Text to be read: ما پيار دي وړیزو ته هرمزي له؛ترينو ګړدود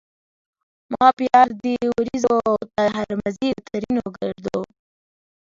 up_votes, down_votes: 3, 0